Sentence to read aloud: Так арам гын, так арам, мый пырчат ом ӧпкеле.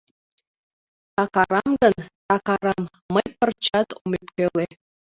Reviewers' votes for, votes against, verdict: 2, 0, accepted